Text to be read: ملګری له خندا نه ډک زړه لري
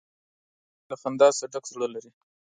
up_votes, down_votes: 0, 2